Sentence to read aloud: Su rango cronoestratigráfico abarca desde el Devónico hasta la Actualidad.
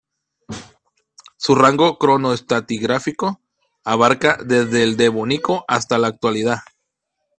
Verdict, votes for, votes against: accepted, 2, 0